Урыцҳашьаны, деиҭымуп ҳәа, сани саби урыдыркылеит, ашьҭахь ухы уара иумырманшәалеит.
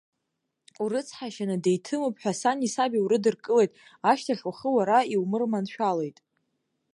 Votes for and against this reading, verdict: 2, 1, accepted